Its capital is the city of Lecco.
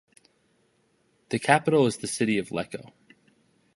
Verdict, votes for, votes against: rejected, 0, 2